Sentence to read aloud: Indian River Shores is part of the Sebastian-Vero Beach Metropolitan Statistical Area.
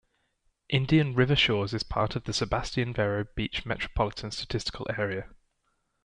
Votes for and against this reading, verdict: 2, 0, accepted